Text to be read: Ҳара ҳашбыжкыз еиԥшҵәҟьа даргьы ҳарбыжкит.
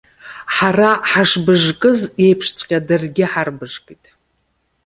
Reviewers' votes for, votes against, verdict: 2, 0, accepted